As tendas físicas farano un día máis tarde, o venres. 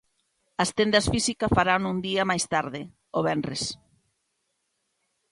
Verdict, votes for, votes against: rejected, 1, 2